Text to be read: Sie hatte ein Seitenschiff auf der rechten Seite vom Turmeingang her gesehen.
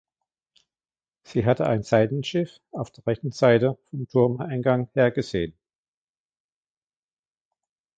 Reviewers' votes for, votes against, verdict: 0, 2, rejected